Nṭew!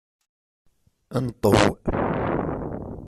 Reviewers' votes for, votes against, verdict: 1, 2, rejected